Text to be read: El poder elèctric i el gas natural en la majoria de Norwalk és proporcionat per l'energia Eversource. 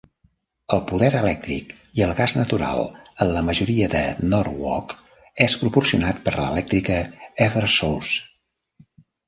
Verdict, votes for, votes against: rejected, 0, 2